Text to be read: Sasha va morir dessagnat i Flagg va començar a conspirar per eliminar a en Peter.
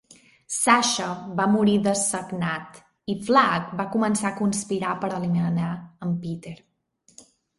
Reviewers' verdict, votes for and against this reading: rejected, 1, 2